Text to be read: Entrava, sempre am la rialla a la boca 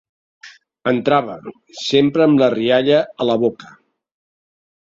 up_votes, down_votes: 2, 1